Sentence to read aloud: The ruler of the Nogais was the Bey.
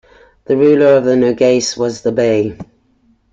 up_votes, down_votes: 3, 0